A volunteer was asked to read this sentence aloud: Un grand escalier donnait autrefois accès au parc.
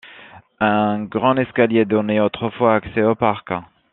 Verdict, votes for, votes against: rejected, 0, 2